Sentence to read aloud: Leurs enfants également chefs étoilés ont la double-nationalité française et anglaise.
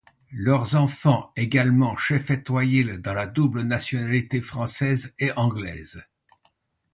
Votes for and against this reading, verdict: 1, 2, rejected